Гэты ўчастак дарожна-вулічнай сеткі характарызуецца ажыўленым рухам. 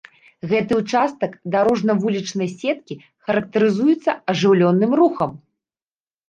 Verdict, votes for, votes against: rejected, 1, 2